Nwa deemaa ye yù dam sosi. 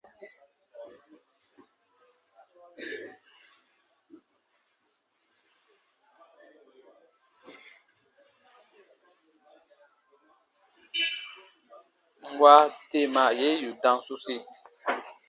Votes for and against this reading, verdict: 2, 0, accepted